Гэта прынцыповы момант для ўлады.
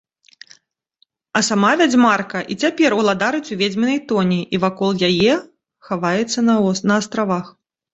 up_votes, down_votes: 0, 2